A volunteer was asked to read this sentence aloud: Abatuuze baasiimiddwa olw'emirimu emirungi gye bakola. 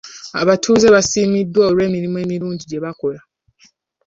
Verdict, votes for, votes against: accepted, 3, 0